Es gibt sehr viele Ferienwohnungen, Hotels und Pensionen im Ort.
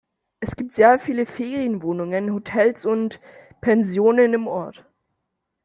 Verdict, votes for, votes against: accepted, 2, 1